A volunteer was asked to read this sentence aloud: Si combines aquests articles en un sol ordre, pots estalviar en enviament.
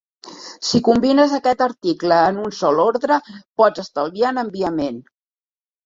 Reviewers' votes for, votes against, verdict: 0, 2, rejected